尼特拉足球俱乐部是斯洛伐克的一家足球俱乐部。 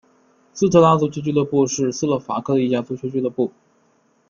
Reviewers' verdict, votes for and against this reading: rejected, 1, 2